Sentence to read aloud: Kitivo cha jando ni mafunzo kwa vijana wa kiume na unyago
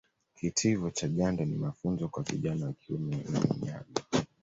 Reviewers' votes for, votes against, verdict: 0, 2, rejected